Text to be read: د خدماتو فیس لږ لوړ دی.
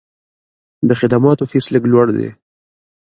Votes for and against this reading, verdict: 2, 0, accepted